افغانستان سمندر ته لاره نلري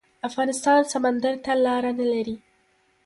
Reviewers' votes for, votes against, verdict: 0, 2, rejected